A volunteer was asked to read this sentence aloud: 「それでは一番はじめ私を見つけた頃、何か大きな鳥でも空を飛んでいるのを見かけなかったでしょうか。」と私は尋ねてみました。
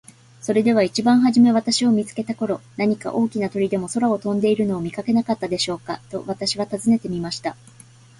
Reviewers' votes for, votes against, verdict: 2, 0, accepted